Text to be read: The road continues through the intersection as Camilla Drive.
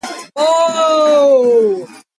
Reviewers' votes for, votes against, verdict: 0, 2, rejected